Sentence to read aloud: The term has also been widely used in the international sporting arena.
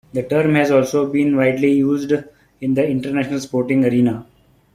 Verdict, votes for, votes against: accepted, 3, 0